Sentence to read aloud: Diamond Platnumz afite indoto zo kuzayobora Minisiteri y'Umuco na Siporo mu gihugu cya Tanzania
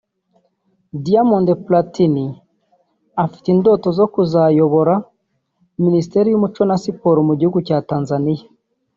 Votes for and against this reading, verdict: 0, 2, rejected